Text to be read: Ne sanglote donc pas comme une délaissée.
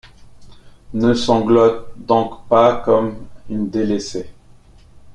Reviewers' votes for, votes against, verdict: 2, 3, rejected